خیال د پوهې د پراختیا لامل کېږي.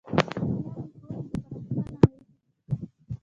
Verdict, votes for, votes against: rejected, 1, 2